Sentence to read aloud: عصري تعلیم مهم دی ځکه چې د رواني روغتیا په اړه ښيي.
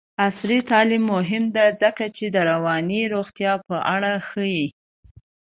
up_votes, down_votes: 2, 1